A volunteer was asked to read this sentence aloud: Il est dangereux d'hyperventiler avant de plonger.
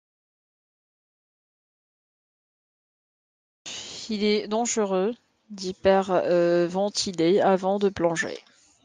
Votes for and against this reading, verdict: 0, 2, rejected